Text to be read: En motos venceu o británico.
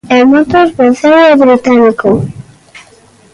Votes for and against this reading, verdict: 1, 2, rejected